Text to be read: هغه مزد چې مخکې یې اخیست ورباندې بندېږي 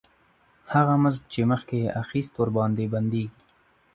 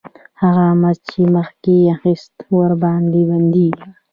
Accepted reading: first